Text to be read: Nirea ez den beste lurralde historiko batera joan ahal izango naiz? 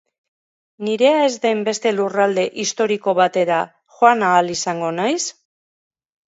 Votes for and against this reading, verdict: 5, 0, accepted